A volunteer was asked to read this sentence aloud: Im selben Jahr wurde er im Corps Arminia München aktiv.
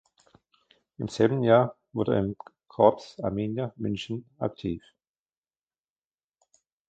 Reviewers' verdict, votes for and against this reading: rejected, 0, 2